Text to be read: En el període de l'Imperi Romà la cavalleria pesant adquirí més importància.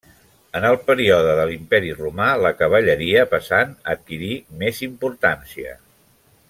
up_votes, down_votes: 2, 0